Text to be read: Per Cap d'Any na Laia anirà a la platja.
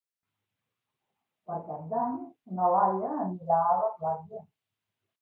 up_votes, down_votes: 2, 1